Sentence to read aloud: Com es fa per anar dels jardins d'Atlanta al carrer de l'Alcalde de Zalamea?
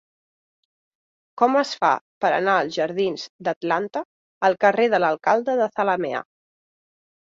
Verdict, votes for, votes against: rejected, 1, 4